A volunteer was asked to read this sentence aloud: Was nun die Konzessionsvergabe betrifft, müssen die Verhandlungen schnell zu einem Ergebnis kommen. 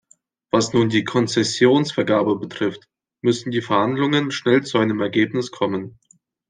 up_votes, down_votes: 2, 0